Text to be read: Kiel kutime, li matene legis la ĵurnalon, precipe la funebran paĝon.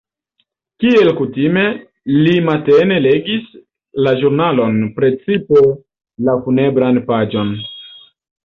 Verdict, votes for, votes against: accepted, 2, 0